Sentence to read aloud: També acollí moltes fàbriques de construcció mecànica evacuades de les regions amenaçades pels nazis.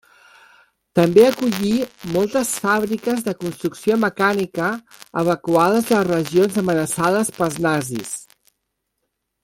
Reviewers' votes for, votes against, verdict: 1, 2, rejected